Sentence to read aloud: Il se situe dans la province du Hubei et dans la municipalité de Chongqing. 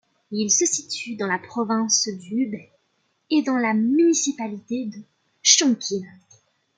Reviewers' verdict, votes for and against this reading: accepted, 2, 0